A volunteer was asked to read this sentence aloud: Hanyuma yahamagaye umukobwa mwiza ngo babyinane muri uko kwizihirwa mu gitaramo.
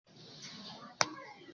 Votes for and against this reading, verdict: 0, 2, rejected